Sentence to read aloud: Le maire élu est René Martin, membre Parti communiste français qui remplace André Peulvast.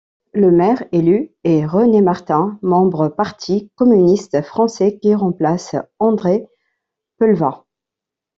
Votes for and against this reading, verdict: 2, 0, accepted